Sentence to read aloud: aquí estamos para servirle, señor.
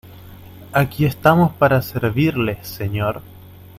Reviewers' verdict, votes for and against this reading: accepted, 2, 0